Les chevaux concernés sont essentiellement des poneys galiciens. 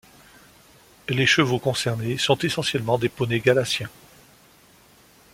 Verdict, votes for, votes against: accepted, 2, 1